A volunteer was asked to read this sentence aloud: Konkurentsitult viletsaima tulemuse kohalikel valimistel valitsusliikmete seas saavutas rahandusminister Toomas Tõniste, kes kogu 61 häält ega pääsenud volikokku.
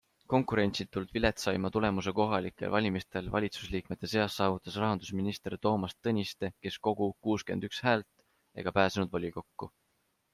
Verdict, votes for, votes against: rejected, 0, 2